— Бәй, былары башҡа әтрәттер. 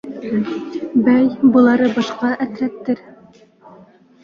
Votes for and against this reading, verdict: 2, 3, rejected